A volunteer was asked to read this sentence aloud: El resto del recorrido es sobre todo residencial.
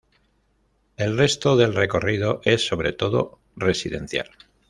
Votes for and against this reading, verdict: 2, 0, accepted